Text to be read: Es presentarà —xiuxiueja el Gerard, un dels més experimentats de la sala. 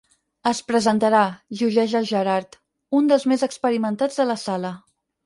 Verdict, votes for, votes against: rejected, 2, 4